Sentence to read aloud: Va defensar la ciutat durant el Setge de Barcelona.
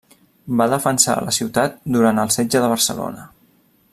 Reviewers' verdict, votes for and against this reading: accepted, 3, 0